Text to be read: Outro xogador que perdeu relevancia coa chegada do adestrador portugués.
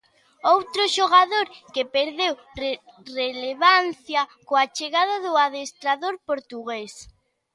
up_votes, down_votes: 1, 2